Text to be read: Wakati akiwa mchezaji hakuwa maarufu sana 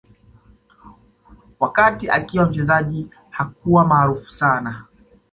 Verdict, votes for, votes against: accepted, 2, 1